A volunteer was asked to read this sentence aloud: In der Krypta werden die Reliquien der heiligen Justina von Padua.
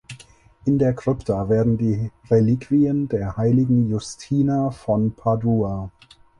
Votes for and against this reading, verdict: 4, 2, accepted